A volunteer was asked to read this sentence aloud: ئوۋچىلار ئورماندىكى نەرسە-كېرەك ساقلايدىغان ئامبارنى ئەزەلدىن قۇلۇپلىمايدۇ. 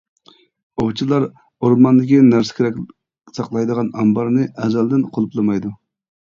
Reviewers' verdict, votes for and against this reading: accepted, 2, 0